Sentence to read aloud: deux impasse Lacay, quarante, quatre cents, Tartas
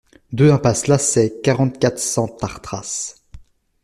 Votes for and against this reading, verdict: 0, 2, rejected